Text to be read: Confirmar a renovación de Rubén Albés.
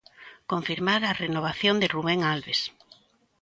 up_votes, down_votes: 1, 2